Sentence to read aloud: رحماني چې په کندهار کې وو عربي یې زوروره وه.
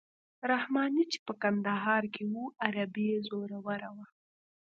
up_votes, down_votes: 1, 2